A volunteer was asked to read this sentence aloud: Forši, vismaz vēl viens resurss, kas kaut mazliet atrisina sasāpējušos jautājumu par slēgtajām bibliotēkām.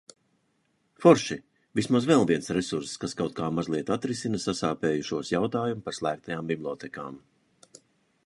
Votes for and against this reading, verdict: 1, 2, rejected